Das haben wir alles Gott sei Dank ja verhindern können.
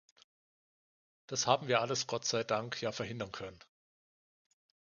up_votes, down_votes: 2, 0